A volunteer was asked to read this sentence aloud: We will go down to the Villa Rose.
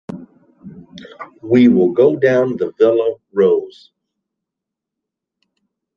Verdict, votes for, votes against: rejected, 0, 2